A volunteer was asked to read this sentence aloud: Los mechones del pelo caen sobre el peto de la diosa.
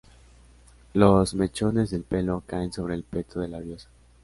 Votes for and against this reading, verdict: 2, 0, accepted